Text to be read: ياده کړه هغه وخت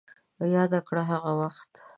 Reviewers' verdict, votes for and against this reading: accepted, 2, 0